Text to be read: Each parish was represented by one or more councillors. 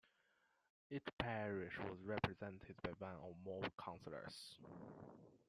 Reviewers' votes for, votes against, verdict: 1, 2, rejected